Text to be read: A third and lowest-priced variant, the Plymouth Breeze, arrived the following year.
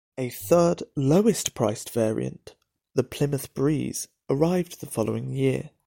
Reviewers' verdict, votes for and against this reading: rejected, 0, 2